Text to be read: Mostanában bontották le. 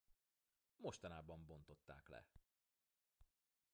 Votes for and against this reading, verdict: 1, 2, rejected